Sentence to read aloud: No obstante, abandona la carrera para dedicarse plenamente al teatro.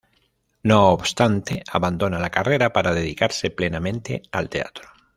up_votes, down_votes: 2, 0